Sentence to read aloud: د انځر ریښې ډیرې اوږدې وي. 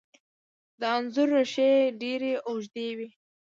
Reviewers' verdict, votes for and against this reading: accepted, 2, 0